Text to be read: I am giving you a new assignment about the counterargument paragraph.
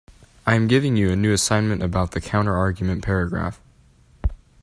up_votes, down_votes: 2, 0